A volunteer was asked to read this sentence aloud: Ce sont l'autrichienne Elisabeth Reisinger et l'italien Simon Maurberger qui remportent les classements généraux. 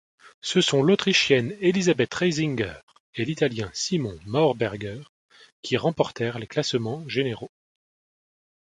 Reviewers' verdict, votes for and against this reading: rejected, 1, 2